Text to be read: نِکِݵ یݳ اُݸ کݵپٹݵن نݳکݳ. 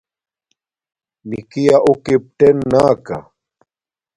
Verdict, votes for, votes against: accepted, 2, 0